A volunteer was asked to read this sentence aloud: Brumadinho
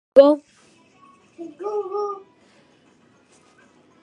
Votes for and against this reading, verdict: 0, 2, rejected